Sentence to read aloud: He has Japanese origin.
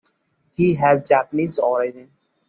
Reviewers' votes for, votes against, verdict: 2, 0, accepted